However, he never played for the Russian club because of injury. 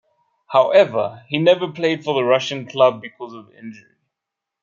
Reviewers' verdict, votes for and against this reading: rejected, 1, 2